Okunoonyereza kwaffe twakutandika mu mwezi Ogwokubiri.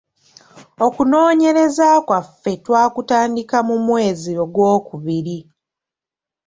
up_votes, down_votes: 1, 2